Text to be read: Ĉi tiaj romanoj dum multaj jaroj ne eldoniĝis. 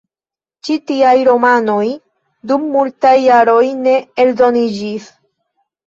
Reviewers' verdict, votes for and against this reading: accepted, 2, 0